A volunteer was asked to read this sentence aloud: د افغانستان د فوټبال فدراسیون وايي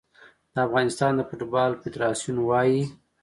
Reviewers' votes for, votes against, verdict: 2, 0, accepted